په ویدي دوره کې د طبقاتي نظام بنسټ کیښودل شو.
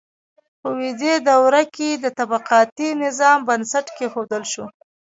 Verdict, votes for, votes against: rejected, 0, 2